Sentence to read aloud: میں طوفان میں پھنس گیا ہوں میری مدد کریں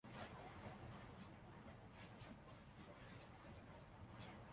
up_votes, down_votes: 0, 3